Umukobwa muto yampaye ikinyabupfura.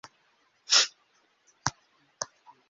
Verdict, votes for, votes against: rejected, 1, 2